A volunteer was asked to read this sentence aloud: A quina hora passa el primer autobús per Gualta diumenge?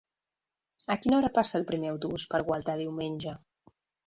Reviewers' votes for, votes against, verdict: 4, 1, accepted